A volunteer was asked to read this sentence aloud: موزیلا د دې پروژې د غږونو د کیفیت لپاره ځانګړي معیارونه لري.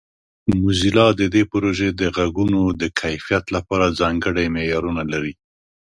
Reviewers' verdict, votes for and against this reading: accepted, 2, 0